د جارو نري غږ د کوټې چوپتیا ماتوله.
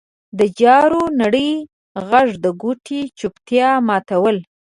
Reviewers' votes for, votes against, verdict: 2, 0, accepted